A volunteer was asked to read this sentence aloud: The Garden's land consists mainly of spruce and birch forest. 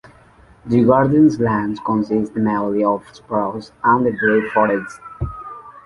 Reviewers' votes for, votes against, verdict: 0, 2, rejected